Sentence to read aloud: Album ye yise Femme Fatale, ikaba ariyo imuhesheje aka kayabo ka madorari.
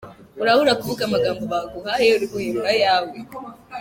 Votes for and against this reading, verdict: 1, 2, rejected